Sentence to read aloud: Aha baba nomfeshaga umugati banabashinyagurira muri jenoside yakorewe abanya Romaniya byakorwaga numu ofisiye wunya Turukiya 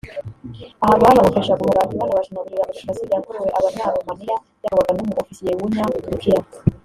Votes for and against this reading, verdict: 0, 2, rejected